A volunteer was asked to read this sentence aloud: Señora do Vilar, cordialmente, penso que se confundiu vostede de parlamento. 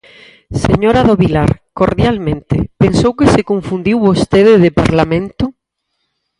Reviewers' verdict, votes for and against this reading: rejected, 0, 4